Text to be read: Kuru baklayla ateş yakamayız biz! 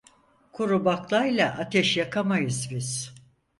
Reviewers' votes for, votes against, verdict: 4, 0, accepted